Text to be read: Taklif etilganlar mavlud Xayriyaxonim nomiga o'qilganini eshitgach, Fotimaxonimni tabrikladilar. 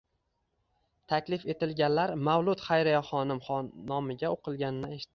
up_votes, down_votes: 0, 2